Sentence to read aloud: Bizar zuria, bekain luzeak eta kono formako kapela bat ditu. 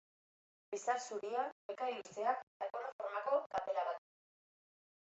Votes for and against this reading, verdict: 1, 2, rejected